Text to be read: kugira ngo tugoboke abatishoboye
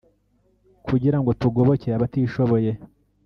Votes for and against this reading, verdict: 1, 2, rejected